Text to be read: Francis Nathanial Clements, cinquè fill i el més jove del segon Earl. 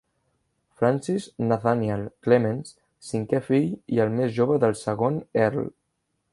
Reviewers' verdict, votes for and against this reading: accepted, 2, 0